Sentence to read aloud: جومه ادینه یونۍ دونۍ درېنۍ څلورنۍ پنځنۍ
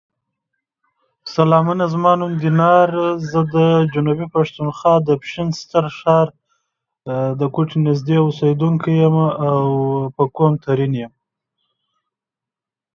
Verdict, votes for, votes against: rejected, 0, 2